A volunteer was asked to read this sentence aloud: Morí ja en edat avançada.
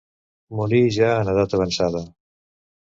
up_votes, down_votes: 2, 0